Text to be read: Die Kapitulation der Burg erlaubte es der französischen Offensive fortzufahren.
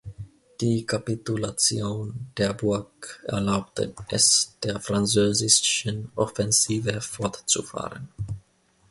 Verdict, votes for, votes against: rejected, 0, 2